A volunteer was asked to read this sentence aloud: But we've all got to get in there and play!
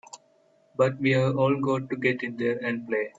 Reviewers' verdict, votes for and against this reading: rejected, 1, 2